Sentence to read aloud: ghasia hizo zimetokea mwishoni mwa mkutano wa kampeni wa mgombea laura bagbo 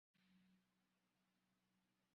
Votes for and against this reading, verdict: 0, 2, rejected